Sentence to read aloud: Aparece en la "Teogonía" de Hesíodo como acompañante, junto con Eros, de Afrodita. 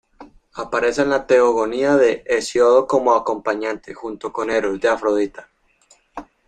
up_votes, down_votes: 2, 1